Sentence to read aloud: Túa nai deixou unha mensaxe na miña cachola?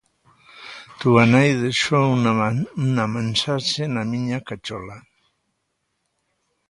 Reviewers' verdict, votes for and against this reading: rejected, 0, 2